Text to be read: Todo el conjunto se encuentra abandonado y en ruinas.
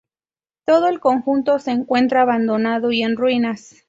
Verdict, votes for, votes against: accepted, 2, 0